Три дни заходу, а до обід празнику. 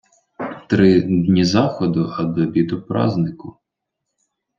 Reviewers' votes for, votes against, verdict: 0, 2, rejected